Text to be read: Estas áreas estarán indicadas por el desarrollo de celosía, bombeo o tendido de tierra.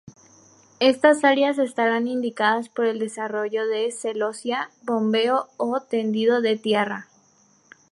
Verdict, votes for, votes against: accepted, 2, 0